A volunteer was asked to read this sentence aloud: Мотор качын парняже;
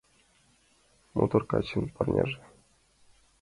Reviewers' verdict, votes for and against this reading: accepted, 2, 0